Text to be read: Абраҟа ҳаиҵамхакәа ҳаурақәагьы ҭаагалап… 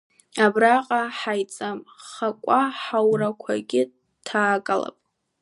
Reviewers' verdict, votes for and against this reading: accepted, 2, 1